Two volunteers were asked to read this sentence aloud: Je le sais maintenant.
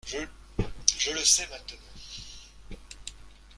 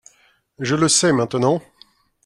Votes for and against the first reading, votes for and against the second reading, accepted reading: 0, 2, 2, 0, second